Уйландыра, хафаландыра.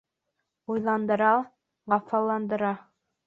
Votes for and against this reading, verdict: 3, 0, accepted